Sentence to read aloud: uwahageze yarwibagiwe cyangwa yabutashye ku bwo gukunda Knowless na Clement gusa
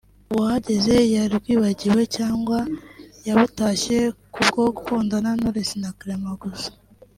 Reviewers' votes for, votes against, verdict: 0, 2, rejected